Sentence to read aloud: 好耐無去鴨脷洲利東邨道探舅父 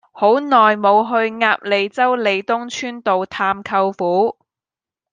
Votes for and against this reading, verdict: 2, 0, accepted